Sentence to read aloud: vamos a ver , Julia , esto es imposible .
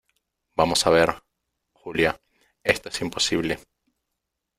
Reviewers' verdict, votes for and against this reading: accepted, 2, 0